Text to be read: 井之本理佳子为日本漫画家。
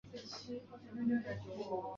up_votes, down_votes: 1, 3